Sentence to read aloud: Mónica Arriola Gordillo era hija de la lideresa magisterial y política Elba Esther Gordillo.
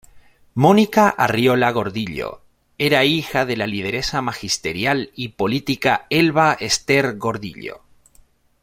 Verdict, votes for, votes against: accepted, 2, 0